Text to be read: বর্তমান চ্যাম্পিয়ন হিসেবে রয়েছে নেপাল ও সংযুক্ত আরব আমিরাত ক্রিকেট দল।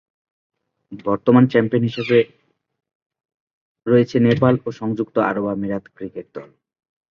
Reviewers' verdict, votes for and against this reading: rejected, 6, 8